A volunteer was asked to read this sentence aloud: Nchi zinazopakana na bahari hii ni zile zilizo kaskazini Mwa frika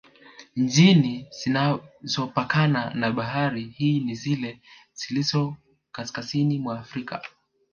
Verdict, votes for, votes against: rejected, 1, 2